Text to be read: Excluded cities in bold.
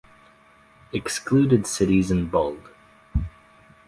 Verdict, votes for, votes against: accepted, 2, 0